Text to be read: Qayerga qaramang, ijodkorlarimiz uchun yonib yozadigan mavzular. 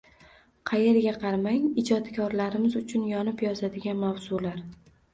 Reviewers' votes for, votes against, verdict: 2, 0, accepted